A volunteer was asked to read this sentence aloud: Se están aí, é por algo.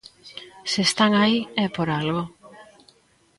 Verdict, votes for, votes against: accepted, 2, 0